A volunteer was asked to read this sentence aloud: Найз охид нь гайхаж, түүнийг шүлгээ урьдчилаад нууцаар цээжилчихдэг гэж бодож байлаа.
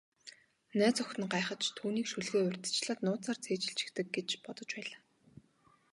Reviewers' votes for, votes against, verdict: 0, 2, rejected